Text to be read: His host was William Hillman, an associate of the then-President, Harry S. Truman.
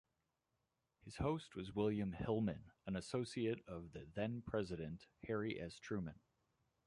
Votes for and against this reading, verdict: 2, 1, accepted